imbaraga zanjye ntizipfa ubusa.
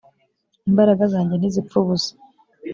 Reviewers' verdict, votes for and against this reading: accepted, 2, 0